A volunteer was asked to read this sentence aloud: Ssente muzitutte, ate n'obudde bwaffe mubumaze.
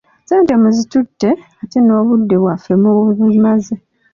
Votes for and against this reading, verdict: 2, 1, accepted